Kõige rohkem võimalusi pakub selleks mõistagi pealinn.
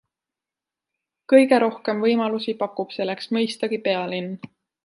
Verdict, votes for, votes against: accepted, 2, 0